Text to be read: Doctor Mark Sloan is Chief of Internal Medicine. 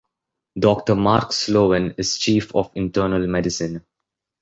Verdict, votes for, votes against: accepted, 3, 0